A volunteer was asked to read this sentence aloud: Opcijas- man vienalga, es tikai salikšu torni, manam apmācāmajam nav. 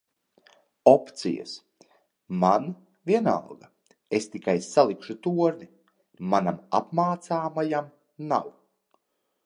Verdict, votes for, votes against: accepted, 2, 0